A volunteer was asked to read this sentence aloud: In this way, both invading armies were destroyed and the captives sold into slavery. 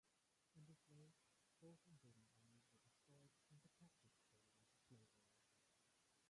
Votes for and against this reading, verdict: 0, 2, rejected